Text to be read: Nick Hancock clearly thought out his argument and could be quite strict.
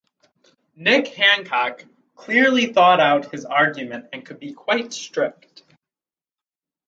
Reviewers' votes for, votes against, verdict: 4, 0, accepted